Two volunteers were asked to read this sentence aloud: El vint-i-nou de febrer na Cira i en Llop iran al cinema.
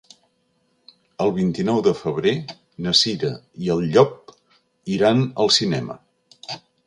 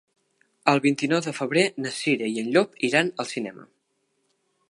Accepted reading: second